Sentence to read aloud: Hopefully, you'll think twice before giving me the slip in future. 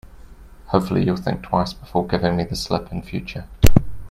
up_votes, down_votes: 2, 0